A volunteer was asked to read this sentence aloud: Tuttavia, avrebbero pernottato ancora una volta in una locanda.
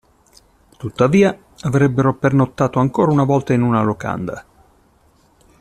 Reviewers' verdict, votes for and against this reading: accepted, 2, 0